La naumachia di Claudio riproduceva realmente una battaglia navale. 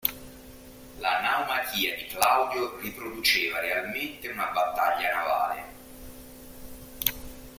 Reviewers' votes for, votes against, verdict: 2, 0, accepted